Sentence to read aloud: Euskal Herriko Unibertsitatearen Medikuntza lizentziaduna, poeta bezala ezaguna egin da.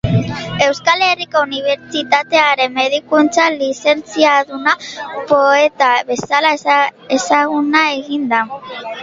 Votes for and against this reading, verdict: 1, 2, rejected